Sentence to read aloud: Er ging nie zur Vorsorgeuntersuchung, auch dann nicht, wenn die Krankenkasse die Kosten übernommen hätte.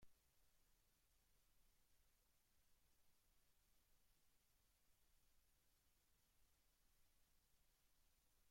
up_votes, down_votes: 0, 2